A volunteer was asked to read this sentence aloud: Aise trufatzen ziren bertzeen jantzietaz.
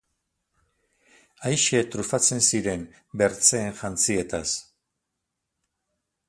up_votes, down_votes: 4, 0